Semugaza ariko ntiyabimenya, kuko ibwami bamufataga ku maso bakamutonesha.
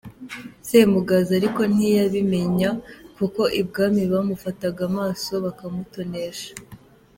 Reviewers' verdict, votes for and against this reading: accepted, 2, 1